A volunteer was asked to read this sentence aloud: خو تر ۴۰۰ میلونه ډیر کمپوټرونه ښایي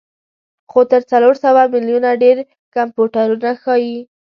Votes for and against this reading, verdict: 0, 2, rejected